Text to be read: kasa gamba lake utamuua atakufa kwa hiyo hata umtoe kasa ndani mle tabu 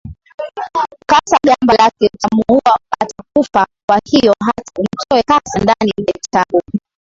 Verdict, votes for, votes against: rejected, 0, 2